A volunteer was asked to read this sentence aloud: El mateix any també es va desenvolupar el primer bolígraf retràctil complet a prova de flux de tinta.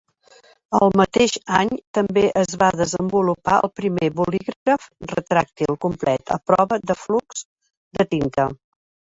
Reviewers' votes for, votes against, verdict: 1, 2, rejected